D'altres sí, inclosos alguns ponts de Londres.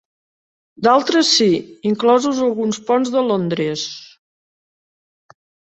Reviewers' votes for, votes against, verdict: 3, 1, accepted